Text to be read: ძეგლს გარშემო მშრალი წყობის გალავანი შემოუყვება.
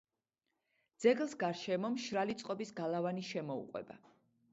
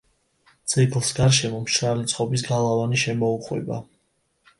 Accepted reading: second